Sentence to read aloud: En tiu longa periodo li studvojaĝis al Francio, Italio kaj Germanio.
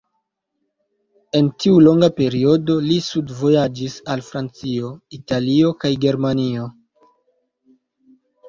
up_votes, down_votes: 2, 0